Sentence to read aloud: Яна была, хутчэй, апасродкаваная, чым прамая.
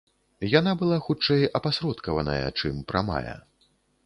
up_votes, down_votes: 2, 0